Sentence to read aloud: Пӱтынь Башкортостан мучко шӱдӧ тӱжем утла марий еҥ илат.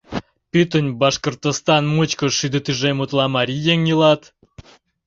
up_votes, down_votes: 2, 0